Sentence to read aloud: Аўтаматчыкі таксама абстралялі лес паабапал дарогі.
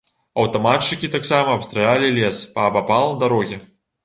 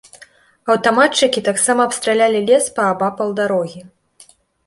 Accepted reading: second